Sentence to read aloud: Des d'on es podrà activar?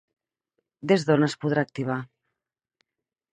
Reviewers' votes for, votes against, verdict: 4, 0, accepted